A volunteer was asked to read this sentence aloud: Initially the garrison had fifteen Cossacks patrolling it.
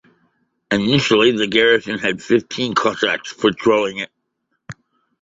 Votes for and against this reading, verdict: 2, 0, accepted